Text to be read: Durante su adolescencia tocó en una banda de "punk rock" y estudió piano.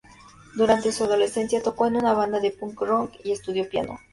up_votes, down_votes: 2, 0